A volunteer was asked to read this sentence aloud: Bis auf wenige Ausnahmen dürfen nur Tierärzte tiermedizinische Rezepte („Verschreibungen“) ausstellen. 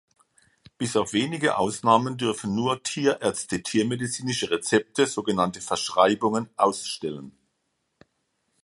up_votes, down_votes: 0, 2